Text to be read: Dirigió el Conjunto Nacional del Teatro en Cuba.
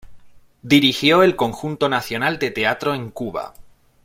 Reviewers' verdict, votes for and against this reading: accepted, 2, 0